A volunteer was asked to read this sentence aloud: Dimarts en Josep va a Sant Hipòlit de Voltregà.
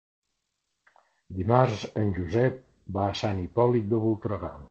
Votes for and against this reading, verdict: 3, 0, accepted